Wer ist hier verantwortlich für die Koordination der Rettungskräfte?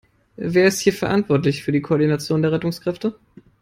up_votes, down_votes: 3, 0